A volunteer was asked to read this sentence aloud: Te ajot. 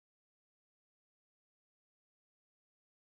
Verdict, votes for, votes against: rejected, 0, 2